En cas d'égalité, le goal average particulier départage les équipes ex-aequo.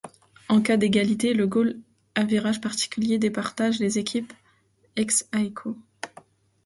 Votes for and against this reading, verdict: 0, 2, rejected